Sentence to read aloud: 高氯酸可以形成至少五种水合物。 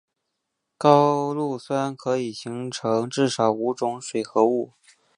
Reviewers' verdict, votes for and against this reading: accepted, 3, 0